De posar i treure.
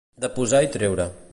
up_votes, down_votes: 2, 0